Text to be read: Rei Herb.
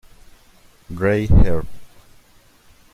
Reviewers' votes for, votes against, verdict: 0, 2, rejected